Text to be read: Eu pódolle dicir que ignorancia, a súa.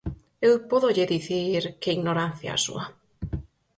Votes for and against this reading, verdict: 4, 0, accepted